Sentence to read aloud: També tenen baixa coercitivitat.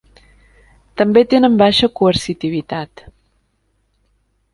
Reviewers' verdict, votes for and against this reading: accepted, 2, 0